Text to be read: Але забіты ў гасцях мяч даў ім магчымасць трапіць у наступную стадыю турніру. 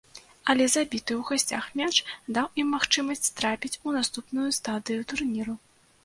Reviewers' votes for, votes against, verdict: 2, 0, accepted